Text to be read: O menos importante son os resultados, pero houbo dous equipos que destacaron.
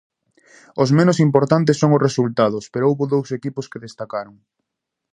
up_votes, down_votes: 0, 2